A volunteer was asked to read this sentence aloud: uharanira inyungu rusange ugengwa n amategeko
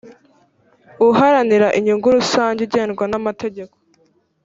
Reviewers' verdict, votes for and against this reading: rejected, 1, 2